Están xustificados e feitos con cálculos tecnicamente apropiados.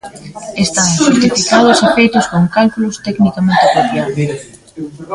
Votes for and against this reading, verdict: 0, 2, rejected